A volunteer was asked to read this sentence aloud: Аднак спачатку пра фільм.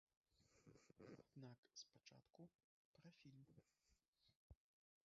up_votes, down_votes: 0, 2